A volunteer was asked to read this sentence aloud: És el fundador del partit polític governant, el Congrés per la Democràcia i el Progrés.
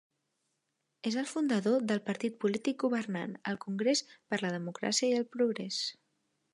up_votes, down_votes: 2, 0